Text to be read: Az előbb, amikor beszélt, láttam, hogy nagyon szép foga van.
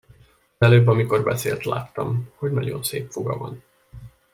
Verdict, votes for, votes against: rejected, 1, 2